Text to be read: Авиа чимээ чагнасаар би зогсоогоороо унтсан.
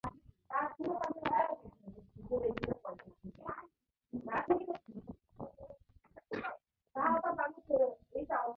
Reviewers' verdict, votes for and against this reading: rejected, 0, 2